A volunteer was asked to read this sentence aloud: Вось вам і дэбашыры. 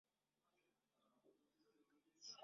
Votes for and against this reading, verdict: 0, 2, rejected